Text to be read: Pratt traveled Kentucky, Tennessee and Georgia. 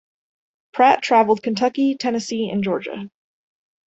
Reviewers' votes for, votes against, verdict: 2, 1, accepted